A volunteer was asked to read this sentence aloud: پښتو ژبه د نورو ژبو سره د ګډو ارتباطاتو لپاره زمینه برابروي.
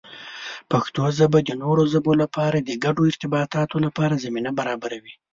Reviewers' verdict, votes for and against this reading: rejected, 1, 2